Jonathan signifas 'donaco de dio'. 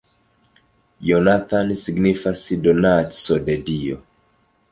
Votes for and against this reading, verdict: 2, 1, accepted